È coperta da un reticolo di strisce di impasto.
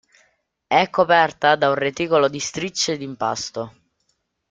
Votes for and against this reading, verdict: 1, 2, rejected